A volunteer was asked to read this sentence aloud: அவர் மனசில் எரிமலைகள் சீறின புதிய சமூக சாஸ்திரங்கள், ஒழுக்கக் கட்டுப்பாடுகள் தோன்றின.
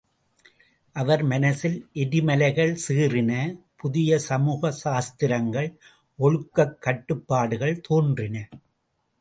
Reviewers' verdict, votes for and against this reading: accepted, 2, 0